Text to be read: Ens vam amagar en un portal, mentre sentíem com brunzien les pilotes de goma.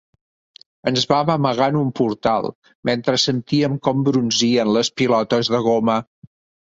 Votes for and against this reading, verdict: 2, 0, accepted